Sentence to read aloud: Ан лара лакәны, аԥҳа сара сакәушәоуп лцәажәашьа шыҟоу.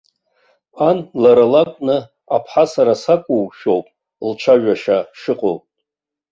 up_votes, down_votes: 2, 0